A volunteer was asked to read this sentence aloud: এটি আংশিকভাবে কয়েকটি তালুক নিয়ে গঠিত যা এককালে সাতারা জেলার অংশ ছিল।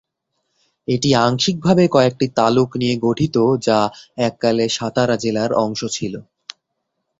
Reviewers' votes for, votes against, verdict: 13, 0, accepted